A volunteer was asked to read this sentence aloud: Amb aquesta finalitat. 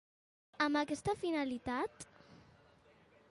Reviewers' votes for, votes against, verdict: 2, 0, accepted